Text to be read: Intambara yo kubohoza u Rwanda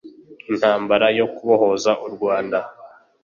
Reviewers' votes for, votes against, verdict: 2, 0, accepted